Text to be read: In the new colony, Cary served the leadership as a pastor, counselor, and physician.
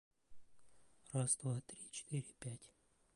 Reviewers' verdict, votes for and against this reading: rejected, 0, 2